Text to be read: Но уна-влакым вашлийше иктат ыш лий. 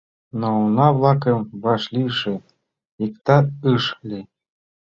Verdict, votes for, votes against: accepted, 2, 0